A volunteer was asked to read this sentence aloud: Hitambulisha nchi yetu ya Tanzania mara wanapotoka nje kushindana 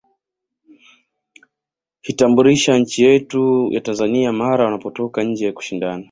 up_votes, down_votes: 2, 0